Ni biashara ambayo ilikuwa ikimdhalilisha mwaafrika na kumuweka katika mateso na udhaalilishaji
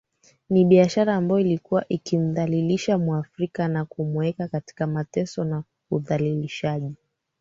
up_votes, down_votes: 2, 1